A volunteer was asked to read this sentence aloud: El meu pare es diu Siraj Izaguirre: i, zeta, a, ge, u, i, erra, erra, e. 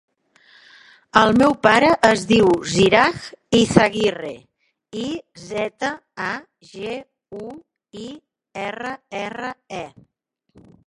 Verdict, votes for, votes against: rejected, 1, 3